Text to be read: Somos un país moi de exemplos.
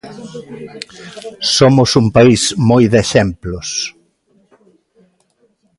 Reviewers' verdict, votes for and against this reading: rejected, 1, 2